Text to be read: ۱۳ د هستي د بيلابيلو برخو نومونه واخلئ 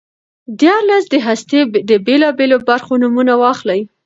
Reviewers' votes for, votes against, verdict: 0, 2, rejected